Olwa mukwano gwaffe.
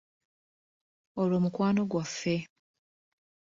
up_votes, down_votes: 1, 2